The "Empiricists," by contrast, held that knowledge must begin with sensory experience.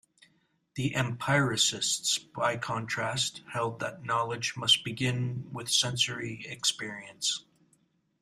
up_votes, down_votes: 1, 2